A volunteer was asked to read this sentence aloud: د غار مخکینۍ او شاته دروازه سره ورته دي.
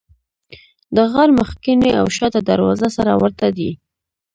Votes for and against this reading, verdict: 0, 2, rejected